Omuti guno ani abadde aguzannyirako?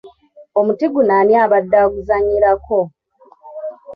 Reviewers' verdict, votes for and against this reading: accepted, 2, 1